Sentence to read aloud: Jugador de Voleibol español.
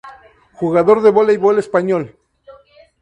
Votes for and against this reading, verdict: 4, 2, accepted